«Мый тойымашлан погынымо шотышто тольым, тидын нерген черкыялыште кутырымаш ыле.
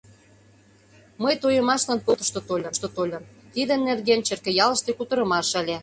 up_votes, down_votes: 0, 2